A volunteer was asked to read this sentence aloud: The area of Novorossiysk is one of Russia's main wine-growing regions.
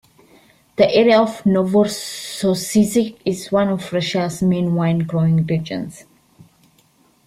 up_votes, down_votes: 2, 0